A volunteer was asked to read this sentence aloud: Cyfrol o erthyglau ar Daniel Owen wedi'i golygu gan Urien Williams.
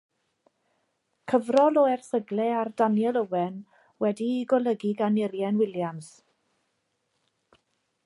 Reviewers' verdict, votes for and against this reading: accepted, 2, 0